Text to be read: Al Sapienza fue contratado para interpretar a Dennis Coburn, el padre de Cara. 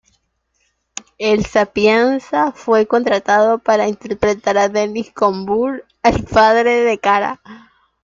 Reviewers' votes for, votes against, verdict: 0, 2, rejected